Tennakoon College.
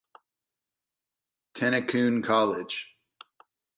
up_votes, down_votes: 2, 0